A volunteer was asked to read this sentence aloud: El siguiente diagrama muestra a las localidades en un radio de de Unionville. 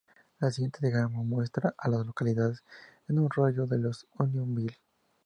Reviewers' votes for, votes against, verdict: 0, 2, rejected